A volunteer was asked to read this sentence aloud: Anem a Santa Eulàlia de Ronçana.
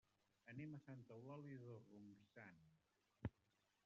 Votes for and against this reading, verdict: 0, 2, rejected